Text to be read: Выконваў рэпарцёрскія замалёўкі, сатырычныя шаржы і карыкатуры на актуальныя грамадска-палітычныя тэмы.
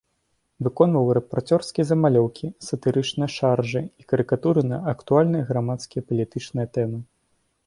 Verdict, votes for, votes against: rejected, 0, 2